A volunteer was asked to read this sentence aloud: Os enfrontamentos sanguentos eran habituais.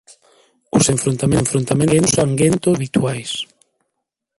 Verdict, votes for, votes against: rejected, 0, 2